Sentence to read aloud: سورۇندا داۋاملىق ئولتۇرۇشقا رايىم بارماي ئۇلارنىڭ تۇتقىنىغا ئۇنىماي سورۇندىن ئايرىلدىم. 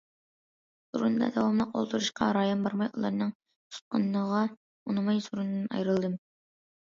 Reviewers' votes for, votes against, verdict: 2, 1, accepted